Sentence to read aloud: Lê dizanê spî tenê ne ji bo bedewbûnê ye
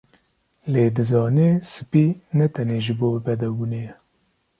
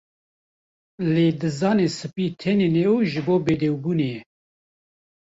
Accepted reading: first